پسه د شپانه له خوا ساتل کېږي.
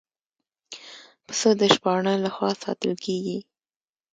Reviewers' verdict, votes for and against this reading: accepted, 2, 0